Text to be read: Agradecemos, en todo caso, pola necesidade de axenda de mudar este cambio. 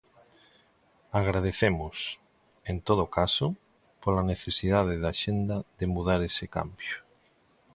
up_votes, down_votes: 0, 2